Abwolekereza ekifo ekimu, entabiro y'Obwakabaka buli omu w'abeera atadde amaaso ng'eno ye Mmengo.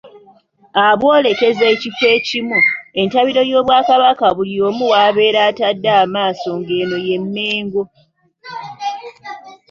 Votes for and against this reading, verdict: 2, 0, accepted